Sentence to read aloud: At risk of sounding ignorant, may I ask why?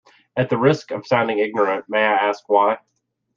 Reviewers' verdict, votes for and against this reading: rejected, 0, 2